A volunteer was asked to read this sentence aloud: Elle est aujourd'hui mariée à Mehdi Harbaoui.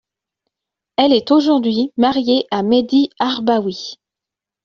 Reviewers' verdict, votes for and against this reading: accepted, 2, 0